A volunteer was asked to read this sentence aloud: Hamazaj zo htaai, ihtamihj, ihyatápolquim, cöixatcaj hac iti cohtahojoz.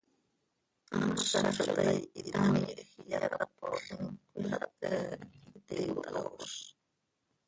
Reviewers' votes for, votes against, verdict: 0, 2, rejected